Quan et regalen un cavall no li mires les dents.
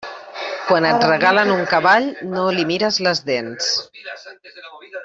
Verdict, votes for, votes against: rejected, 1, 2